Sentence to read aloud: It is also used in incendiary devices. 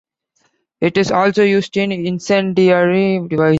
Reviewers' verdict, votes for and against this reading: rejected, 1, 2